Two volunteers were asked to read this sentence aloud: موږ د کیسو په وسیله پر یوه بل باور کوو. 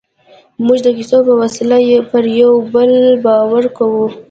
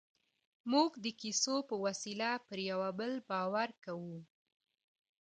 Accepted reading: second